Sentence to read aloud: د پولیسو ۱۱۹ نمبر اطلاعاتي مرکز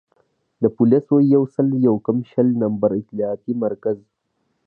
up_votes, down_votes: 0, 2